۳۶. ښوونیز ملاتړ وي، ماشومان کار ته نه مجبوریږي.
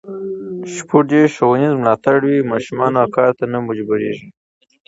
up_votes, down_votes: 0, 2